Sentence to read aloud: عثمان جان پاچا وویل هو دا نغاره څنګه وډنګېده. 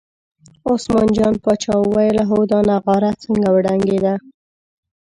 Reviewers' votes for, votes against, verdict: 0, 2, rejected